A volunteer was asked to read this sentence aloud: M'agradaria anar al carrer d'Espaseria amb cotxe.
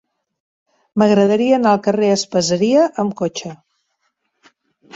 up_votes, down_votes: 1, 2